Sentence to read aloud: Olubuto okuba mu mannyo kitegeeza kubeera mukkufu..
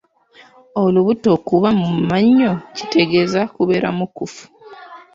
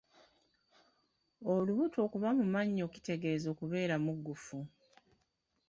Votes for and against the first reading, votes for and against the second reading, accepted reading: 1, 2, 2, 1, second